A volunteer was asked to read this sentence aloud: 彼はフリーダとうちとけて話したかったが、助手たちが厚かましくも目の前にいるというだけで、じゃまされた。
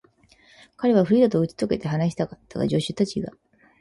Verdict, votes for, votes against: rejected, 0, 4